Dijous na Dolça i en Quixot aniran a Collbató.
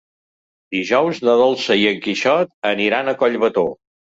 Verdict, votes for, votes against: accepted, 3, 0